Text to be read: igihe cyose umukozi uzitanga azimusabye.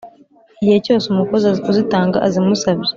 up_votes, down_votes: 2, 0